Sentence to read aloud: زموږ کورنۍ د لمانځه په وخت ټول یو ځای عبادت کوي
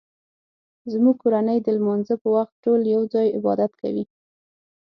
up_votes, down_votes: 6, 0